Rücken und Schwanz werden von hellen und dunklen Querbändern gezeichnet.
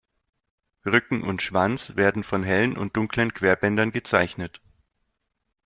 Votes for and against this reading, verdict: 2, 0, accepted